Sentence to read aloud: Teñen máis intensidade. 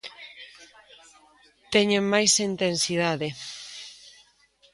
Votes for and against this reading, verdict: 2, 0, accepted